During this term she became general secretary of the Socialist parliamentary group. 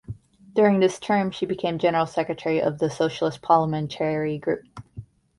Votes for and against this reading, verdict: 2, 0, accepted